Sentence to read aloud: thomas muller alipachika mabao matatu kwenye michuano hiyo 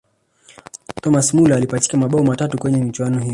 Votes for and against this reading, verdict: 1, 2, rejected